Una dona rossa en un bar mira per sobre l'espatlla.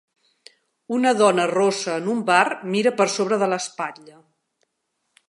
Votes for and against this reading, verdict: 0, 2, rejected